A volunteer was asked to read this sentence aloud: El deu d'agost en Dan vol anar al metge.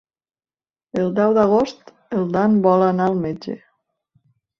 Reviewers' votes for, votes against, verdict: 2, 0, accepted